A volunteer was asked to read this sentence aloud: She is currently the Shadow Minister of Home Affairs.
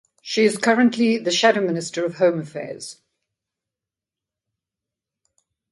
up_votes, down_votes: 2, 0